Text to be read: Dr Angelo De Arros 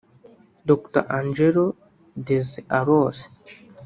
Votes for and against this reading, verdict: 1, 2, rejected